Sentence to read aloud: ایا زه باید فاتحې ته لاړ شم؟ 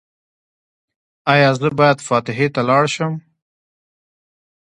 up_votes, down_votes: 2, 1